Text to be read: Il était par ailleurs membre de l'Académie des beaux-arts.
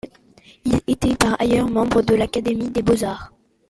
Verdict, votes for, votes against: accepted, 2, 0